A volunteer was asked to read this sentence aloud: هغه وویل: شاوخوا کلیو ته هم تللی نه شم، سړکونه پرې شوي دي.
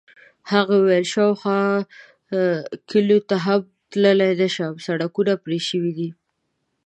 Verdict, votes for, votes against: rejected, 0, 2